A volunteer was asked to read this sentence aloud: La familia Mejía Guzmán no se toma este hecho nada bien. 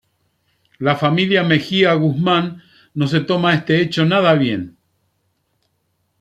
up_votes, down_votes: 2, 0